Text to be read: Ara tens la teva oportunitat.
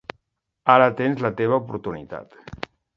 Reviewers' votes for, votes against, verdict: 2, 0, accepted